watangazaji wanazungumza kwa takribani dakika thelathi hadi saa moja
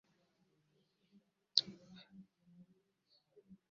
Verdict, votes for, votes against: rejected, 0, 2